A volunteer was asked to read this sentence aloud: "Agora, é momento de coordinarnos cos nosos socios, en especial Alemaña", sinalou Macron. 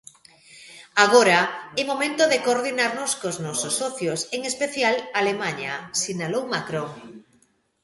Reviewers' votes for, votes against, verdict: 2, 0, accepted